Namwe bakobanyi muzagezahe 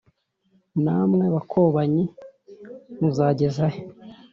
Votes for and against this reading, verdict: 2, 0, accepted